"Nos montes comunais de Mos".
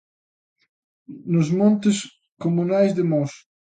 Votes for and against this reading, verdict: 2, 0, accepted